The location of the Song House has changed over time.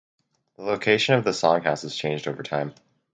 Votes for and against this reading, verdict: 4, 0, accepted